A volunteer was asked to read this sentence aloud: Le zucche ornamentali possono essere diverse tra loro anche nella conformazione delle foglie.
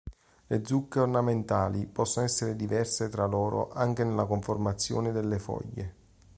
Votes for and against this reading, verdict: 2, 0, accepted